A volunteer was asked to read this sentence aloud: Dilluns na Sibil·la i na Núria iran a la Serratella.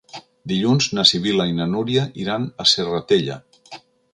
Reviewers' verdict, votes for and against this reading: rejected, 1, 2